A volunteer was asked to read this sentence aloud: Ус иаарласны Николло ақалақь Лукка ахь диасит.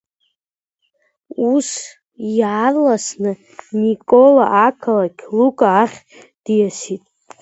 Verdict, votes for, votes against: rejected, 0, 2